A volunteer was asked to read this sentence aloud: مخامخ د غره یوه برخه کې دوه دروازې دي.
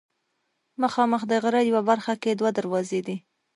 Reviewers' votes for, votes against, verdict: 1, 2, rejected